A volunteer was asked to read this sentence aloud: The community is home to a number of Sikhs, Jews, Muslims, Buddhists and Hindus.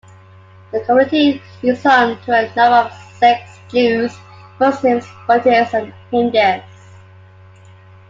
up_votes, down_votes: 2, 1